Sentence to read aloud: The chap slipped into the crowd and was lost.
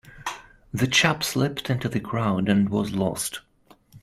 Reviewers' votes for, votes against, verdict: 2, 0, accepted